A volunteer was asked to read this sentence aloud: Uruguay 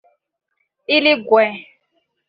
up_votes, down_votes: 1, 2